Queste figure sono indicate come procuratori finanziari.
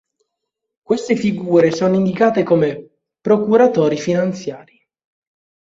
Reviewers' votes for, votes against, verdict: 2, 0, accepted